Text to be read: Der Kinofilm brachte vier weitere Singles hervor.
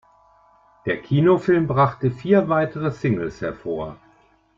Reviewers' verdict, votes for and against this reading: accepted, 2, 0